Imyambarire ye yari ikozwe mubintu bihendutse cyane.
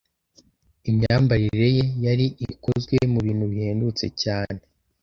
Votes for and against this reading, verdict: 2, 0, accepted